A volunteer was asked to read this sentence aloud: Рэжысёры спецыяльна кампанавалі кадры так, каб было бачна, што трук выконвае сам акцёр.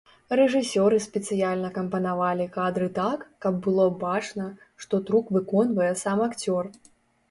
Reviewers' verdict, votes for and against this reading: accepted, 2, 0